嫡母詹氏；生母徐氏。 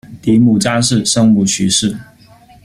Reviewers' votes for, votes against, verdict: 0, 2, rejected